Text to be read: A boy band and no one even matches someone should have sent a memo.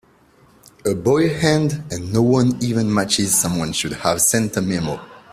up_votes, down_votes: 0, 2